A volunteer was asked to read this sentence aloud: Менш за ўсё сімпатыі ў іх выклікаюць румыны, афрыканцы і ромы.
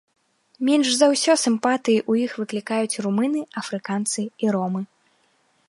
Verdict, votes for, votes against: accepted, 2, 0